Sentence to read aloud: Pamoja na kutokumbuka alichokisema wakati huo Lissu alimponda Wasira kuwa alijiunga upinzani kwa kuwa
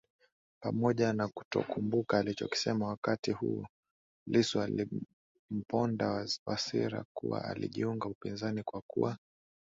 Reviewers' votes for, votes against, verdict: 2, 1, accepted